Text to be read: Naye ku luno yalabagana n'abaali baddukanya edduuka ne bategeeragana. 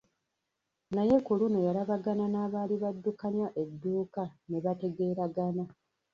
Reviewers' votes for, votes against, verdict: 0, 2, rejected